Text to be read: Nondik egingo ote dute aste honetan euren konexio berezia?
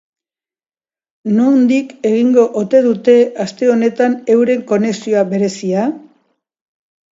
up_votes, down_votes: 1, 2